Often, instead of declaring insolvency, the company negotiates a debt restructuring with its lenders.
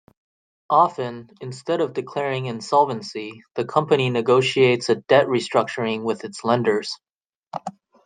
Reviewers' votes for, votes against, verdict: 2, 0, accepted